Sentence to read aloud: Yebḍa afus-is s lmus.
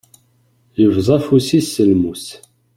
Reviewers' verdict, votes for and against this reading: accepted, 2, 0